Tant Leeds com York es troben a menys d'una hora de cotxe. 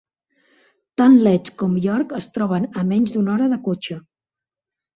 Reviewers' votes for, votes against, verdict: 2, 1, accepted